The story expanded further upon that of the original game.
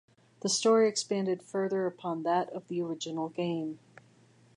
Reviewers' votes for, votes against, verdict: 2, 0, accepted